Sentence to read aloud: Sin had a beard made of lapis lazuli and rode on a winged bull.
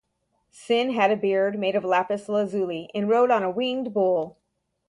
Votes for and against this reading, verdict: 0, 2, rejected